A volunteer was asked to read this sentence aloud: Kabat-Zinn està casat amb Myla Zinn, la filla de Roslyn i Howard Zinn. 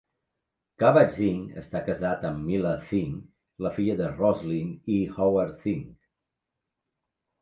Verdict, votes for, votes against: accepted, 2, 0